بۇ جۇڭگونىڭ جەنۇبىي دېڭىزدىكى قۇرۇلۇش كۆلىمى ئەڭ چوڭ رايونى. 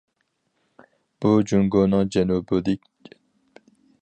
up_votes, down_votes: 0, 4